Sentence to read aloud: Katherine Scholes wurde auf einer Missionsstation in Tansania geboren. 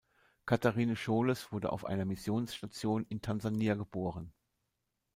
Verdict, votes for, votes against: accepted, 2, 0